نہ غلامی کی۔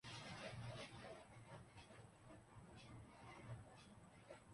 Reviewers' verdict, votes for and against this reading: rejected, 0, 2